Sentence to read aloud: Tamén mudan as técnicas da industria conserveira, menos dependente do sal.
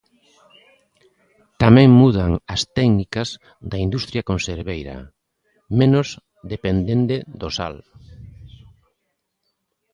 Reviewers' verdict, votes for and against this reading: rejected, 1, 2